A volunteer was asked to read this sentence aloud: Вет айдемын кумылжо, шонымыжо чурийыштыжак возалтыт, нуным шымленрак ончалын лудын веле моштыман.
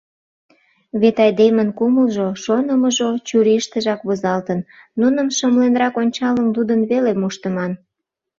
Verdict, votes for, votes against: rejected, 1, 2